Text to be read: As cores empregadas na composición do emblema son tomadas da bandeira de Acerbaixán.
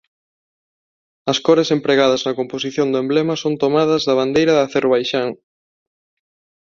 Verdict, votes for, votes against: accepted, 2, 0